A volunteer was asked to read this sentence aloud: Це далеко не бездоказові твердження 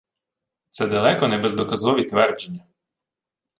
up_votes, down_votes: 2, 0